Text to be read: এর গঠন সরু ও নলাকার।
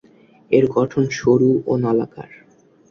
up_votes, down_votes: 3, 0